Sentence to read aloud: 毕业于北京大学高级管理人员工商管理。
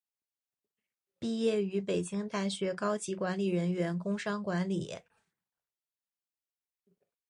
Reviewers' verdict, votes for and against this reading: accepted, 3, 0